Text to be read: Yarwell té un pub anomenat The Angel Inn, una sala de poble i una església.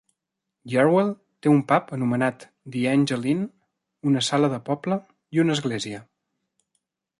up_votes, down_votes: 2, 0